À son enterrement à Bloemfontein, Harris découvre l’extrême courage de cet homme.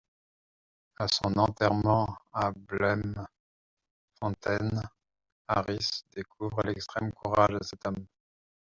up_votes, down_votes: 1, 2